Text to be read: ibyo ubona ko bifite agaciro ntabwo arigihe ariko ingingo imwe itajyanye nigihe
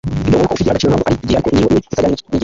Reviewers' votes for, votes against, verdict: 0, 2, rejected